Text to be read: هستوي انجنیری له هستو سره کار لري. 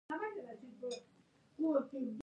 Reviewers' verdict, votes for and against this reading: rejected, 1, 2